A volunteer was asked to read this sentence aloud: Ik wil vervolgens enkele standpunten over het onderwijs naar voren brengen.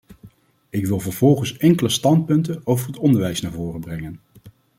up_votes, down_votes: 2, 0